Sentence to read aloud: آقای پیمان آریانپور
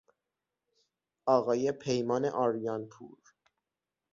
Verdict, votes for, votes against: rejected, 3, 6